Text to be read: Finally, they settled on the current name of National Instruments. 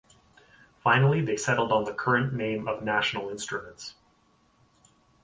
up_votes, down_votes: 4, 0